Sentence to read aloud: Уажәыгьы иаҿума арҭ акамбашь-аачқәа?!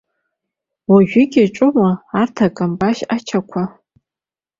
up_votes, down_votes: 1, 2